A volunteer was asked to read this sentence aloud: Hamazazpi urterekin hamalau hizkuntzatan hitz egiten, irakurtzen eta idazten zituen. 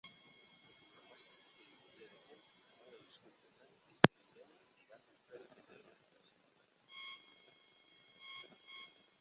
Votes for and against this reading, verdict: 0, 2, rejected